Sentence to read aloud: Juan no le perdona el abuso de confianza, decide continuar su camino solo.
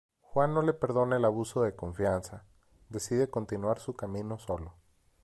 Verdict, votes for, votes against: accepted, 2, 0